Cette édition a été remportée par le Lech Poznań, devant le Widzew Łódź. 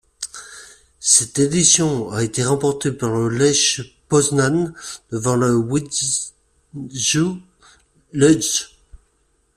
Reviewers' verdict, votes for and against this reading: rejected, 0, 2